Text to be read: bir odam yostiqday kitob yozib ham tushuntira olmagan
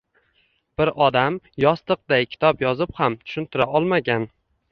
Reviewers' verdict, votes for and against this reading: accepted, 2, 1